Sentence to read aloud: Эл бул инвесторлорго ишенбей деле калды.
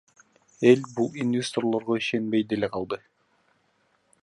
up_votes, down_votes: 0, 2